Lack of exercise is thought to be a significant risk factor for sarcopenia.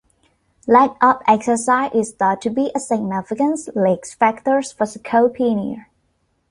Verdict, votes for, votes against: accepted, 2, 1